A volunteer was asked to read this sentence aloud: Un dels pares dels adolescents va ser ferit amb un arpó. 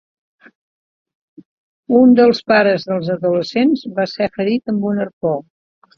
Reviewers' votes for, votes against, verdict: 2, 0, accepted